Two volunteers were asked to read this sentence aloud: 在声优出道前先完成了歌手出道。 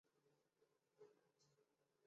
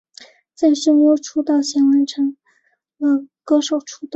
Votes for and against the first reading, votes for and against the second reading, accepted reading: 0, 2, 3, 0, second